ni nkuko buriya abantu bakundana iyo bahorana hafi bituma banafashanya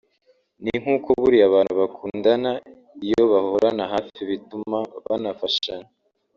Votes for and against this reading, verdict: 2, 1, accepted